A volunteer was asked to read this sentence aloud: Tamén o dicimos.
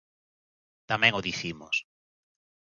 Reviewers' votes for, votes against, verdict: 2, 0, accepted